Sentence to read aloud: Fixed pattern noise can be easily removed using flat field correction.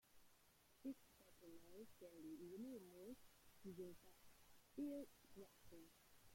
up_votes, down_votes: 0, 2